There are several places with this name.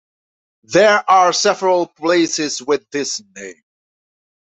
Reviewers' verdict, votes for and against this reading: accepted, 2, 0